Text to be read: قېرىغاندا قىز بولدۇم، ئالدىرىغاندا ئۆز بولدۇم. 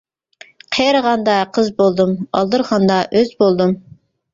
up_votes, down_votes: 2, 0